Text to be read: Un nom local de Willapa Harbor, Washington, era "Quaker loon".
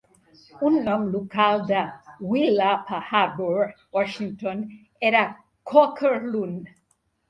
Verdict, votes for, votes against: accepted, 2, 0